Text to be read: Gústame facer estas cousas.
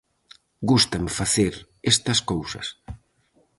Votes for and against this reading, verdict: 4, 0, accepted